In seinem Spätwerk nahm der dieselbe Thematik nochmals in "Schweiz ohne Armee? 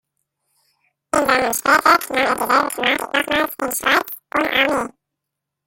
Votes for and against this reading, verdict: 0, 2, rejected